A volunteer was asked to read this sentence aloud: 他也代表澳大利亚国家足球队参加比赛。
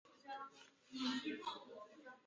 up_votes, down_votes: 0, 2